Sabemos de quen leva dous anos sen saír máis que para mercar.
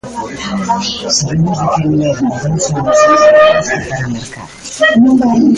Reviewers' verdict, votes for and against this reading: rejected, 0, 2